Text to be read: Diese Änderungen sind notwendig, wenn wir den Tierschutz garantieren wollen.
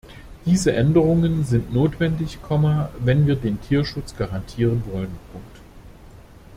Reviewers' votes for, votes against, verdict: 1, 2, rejected